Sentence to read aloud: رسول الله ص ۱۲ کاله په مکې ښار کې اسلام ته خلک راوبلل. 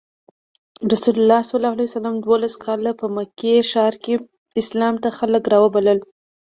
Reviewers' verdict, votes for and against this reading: rejected, 0, 2